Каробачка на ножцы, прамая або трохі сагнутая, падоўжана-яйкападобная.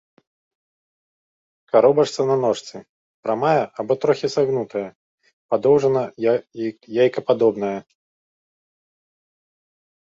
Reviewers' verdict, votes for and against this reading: rejected, 1, 2